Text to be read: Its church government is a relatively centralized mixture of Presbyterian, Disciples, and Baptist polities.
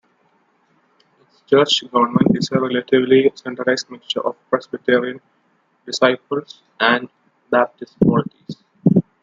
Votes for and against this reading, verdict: 1, 2, rejected